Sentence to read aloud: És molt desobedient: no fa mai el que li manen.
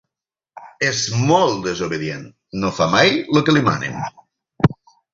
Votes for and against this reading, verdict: 0, 6, rejected